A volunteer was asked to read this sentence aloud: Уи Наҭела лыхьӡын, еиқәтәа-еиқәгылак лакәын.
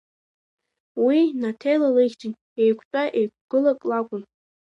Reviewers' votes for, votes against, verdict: 2, 0, accepted